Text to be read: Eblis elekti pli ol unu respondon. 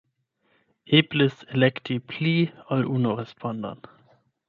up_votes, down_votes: 4, 8